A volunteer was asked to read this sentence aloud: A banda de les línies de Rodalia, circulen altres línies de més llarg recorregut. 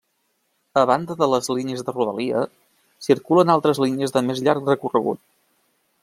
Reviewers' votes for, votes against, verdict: 3, 0, accepted